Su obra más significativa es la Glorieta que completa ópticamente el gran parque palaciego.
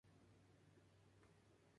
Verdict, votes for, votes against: rejected, 0, 2